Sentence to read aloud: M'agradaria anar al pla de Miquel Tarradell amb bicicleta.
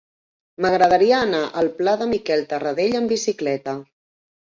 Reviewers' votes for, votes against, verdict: 4, 1, accepted